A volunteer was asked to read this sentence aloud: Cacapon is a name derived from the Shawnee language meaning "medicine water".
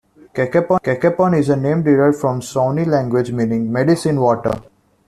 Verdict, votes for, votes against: accepted, 2, 1